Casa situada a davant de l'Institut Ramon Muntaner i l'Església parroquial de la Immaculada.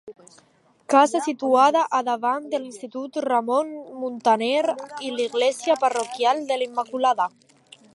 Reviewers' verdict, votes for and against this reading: rejected, 1, 2